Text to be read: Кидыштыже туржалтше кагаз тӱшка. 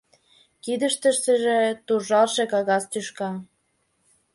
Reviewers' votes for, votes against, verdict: 0, 2, rejected